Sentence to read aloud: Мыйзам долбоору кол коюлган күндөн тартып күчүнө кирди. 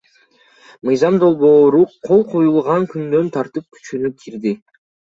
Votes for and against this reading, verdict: 1, 2, rejected